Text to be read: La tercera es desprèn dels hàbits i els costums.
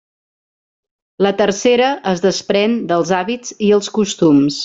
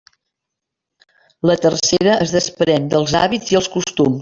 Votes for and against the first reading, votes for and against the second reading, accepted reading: 3, 0, 0, 2, first